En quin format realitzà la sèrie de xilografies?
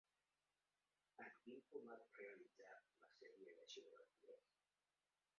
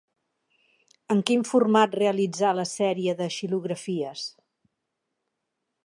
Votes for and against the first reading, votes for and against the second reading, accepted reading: 0, 3, 6, 1, second